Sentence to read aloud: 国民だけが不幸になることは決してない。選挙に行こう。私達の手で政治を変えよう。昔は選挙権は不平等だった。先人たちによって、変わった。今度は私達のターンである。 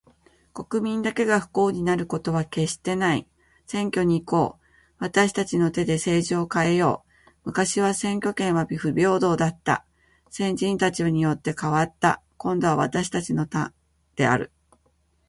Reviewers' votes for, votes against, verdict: 3, 0, accepted